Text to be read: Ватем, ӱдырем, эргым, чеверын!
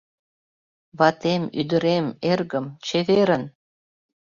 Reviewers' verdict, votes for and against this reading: accepted, 3, 0